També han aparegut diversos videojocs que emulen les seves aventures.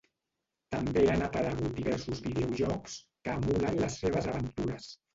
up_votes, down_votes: 0, 2